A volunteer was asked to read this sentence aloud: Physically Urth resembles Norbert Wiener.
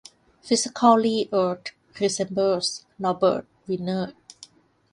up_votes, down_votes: 1, 3